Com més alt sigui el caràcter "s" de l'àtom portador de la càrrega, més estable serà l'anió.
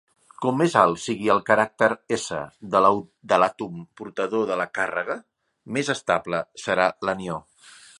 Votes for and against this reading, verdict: 0, 2, rejected